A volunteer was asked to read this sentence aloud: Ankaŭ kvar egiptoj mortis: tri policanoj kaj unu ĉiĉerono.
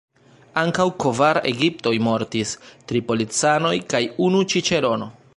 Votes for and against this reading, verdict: 1, 2, rejected